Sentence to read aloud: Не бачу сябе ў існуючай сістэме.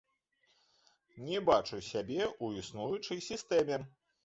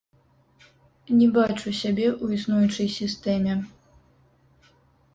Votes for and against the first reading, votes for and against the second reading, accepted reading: 2, 0, 0, 2, first